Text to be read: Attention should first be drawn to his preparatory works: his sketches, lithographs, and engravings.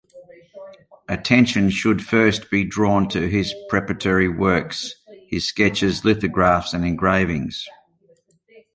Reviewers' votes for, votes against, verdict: 2, 0, accepted